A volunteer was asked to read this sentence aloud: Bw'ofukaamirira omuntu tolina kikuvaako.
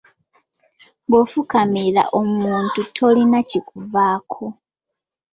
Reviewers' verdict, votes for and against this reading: rejected, 0, 2